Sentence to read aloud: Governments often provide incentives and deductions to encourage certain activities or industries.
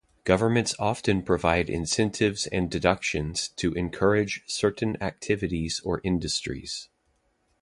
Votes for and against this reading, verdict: 2, 0, accepted